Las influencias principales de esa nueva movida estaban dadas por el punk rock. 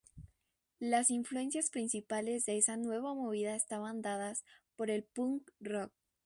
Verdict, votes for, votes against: rejected, 0, 2